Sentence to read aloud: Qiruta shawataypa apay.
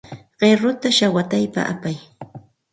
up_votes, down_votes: 4, 0